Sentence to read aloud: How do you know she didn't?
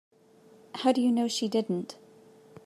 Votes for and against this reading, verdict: 2, 0, accepted